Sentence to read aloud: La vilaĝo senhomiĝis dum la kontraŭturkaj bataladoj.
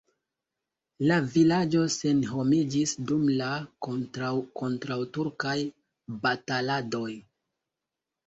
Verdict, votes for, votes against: rejected, 1, 2